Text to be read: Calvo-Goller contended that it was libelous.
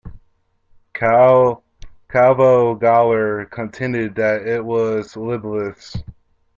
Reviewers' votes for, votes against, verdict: 0, 2, rejected